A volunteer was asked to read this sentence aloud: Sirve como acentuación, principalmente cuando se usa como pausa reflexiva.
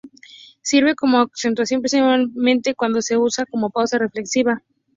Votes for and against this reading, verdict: 2, 0, accepted